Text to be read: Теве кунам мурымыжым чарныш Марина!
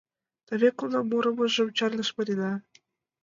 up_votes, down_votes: 2, 0